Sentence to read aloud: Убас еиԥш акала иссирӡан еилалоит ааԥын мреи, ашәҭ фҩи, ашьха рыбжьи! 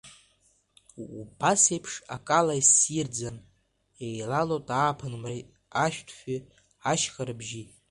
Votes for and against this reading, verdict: 2, 0, accepted